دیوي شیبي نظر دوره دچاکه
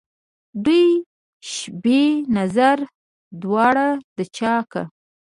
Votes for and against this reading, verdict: 0, 2, rejected